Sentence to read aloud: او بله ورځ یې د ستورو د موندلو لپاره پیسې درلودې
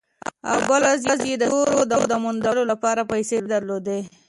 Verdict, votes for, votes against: rejected, 0, 2